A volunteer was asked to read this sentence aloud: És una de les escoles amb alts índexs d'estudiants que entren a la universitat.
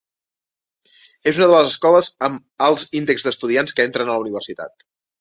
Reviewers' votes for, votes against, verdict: 3, 0, accepted